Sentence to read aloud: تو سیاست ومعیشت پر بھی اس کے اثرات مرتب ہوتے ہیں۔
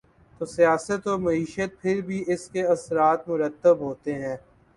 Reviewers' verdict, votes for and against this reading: rejected, 0, 2